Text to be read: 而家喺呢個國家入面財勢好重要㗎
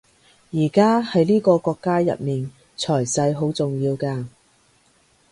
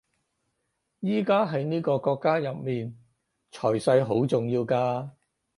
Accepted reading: second